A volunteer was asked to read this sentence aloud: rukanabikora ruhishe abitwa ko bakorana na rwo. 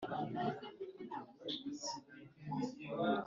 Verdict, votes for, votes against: rejected, 0, 3